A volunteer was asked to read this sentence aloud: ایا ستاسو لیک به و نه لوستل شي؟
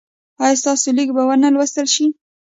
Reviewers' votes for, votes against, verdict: 2, 0, accepted